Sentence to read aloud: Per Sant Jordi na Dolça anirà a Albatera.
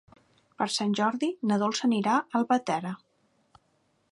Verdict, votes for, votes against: accepted, 2, 0